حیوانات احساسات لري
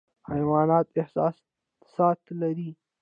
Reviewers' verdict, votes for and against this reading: rejected, 0, 2